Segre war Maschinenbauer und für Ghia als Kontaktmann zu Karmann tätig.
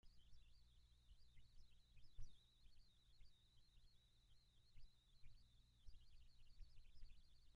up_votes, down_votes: 0, 2